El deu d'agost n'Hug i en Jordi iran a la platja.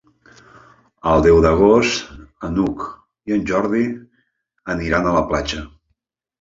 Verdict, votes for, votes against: rejected, 2, 3